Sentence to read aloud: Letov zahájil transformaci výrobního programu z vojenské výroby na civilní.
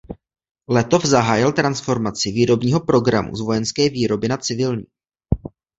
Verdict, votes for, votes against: accepted, 2, 1